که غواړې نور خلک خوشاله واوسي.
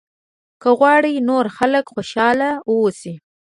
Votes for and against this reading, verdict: 1, 2, rejected